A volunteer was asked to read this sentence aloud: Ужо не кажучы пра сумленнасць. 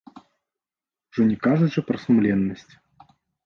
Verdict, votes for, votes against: accepted, 2, 0